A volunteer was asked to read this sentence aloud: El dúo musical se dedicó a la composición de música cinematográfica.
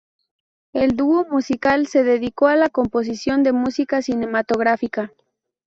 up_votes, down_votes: 2, 0